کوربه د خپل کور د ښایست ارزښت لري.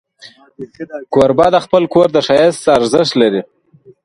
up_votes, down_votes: 2, 1